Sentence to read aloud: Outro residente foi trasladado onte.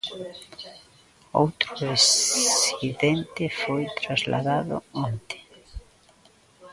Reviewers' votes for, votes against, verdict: 0, 3, rejected